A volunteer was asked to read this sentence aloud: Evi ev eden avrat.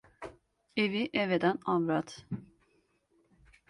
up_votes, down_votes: 2, 0